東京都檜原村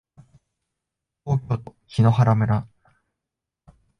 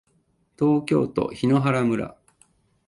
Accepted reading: second